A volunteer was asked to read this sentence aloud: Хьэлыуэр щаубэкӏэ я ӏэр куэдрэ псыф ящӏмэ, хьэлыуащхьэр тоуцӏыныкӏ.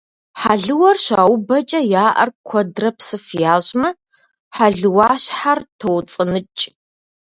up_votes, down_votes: 2, 0